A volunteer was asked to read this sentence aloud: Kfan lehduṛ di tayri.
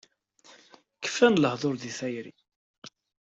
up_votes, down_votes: 2, 0